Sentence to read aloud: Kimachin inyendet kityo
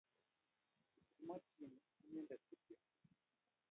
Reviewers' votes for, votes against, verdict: 0, 2, rejected